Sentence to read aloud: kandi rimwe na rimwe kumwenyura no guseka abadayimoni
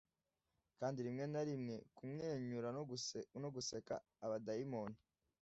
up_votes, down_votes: 1, 2